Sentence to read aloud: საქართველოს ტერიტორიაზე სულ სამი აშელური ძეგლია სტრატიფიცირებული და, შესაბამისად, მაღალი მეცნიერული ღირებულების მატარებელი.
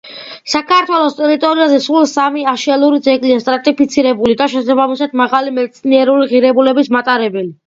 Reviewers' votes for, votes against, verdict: 2, 1, accepted